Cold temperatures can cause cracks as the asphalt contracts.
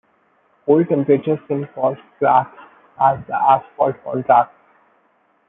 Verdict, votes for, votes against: rejected, 0, 2